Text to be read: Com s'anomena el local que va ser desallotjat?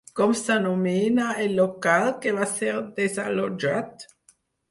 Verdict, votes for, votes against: accepted, 4, 0